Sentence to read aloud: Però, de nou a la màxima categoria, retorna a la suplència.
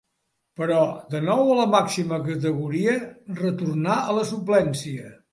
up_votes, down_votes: 2, 0